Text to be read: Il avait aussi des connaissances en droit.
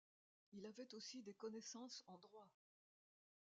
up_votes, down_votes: 0, 2